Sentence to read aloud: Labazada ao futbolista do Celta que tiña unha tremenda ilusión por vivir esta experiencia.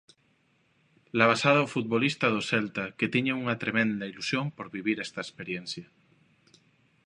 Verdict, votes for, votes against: accepted, 2, 0